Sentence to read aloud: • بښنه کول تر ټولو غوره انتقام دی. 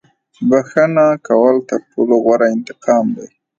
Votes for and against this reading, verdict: 3, 0, accepted